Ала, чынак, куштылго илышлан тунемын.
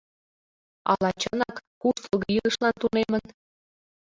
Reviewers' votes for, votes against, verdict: 0, 2, rejected